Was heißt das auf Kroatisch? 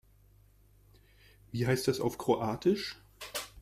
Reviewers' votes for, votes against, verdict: 0, 2, rejected